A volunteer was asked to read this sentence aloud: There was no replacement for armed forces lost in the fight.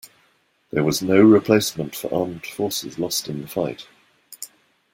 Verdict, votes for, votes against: accepted, 2, 0